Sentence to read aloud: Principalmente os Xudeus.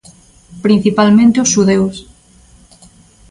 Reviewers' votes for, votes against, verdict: 2, 0, accepted